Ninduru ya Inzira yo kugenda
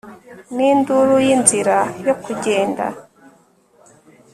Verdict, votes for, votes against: rejected, 0, 2